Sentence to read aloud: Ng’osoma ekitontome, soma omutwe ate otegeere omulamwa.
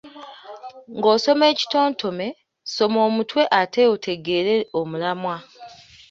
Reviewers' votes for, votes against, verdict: 2, 0, accepted